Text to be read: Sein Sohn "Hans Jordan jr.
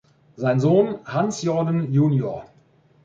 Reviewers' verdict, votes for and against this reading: accepted, 3, 1